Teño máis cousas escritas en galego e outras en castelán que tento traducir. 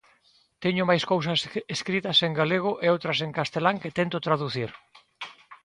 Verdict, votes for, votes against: rejected, 0, 6